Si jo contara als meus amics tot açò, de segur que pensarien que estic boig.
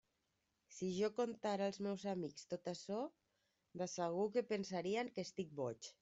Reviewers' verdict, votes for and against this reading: accepted, 2, 0